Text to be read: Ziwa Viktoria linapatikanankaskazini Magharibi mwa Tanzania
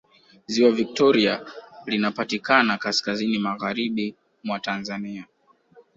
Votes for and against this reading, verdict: 2, 0, accepted